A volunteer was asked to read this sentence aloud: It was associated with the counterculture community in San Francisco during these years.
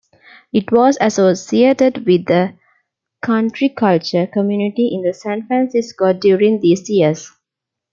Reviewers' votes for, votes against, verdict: 0, 2, rejected